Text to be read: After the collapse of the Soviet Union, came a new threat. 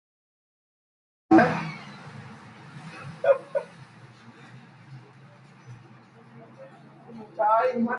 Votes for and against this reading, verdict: 0, 2, rejected